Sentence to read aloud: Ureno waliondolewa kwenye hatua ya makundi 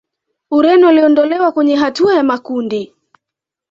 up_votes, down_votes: 2, 0